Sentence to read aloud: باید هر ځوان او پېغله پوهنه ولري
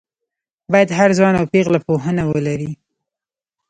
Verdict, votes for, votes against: accepted, 2, 1